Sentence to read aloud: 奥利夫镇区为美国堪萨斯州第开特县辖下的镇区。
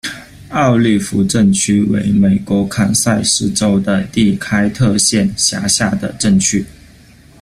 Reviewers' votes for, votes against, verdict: 2, 0, accepted